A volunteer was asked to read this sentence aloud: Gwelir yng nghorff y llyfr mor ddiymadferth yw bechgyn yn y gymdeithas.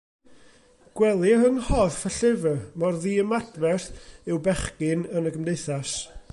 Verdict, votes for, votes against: accepted, 2, 0